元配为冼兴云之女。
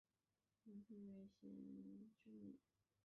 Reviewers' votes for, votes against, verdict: 4, 5, rejected